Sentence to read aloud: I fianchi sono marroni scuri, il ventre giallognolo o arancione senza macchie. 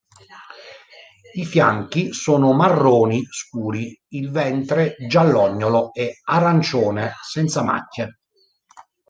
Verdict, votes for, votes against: rejected, 0, 3